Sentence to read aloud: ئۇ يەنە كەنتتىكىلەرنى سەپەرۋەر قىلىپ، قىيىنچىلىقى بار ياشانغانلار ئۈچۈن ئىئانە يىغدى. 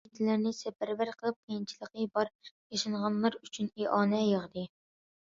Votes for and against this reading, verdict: 0, 2, rejected